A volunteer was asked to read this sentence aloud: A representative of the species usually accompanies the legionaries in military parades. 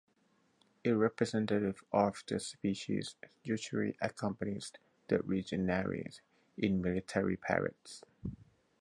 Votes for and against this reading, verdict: 4, 0, accepted